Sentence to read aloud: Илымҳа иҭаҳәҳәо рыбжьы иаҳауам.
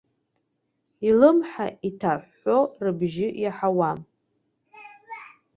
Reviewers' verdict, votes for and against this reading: accepted, 2, 1